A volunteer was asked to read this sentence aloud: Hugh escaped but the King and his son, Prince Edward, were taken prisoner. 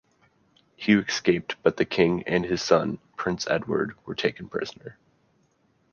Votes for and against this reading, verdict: 2, 0, accepted